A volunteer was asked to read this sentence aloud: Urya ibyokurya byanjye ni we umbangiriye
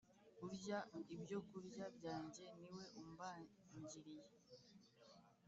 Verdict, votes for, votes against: rejected, 1, 2